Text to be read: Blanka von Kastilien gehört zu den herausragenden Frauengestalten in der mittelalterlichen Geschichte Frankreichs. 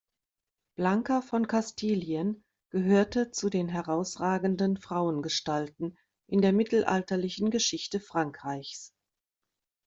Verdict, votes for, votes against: accepted, 2, 0